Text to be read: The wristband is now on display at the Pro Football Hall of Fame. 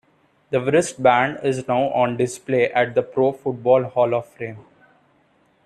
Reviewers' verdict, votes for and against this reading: rejected, 1, 2